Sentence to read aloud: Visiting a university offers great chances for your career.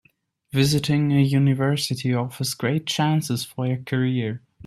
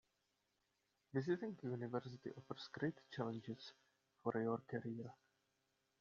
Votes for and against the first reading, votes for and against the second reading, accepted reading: 2, 0, 1, 2, first